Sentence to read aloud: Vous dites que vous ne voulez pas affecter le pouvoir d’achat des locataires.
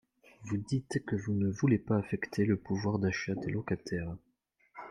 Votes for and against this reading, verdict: 1, 2, rejected